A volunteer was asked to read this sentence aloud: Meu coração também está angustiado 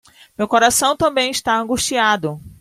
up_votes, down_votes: 2, 1